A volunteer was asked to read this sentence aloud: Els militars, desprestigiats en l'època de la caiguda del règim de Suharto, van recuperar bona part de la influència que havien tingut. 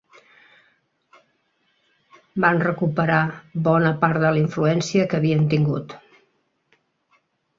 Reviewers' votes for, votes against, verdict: 0, 2, rejected